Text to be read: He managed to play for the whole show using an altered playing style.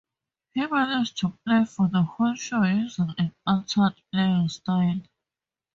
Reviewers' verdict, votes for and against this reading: rejected, 0, 2